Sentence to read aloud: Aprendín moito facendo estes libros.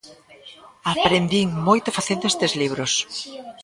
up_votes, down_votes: 1, 2